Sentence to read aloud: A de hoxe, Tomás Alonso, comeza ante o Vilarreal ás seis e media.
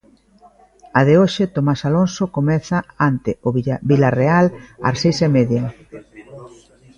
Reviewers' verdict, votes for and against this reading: rejected, 0, 2